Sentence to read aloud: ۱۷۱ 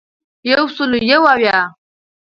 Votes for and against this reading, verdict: 0, 2, rejected